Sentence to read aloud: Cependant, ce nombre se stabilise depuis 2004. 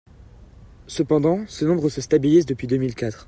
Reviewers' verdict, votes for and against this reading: rejected, 0, 2